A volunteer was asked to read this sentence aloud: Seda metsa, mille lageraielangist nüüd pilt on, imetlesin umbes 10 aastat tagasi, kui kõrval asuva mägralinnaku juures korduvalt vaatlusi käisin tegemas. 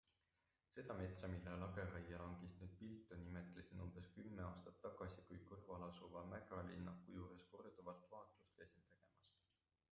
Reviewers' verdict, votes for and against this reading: rejected, 0, 2